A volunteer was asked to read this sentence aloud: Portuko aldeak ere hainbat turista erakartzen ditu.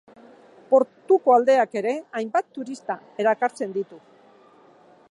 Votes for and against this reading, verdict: 3, 0, accepted